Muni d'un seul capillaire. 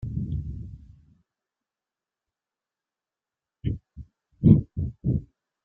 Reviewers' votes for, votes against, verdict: 0, 2, rejected